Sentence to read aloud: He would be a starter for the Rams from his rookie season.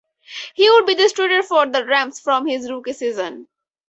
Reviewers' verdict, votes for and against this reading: rejected, 0, 2